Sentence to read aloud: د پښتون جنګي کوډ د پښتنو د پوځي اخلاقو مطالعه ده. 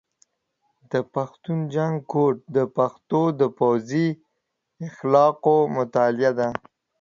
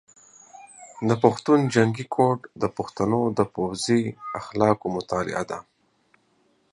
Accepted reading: second